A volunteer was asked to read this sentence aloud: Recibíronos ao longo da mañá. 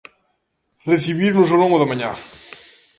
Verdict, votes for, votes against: rejected, 1, 2